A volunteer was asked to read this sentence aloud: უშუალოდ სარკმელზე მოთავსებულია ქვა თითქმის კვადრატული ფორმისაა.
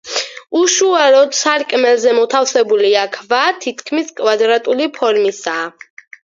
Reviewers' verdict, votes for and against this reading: rejected, 2, 4